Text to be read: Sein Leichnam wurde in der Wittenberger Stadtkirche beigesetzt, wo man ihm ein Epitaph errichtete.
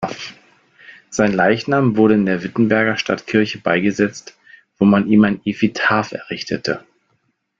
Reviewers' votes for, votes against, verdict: 1, 2, rejected